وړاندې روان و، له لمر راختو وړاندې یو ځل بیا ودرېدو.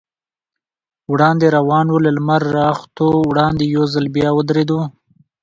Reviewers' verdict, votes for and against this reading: accepted, 2, 1